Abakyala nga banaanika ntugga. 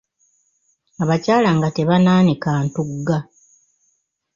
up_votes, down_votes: 1, 2